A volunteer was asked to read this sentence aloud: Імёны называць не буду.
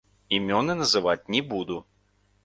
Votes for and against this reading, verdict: 1, 2, rejected